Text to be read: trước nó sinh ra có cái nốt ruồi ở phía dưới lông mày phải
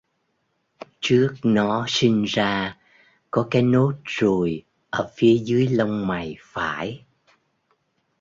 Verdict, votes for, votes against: accepted, 2, 0